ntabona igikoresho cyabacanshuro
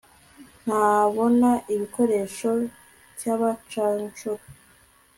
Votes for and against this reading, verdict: 2, 0, accepted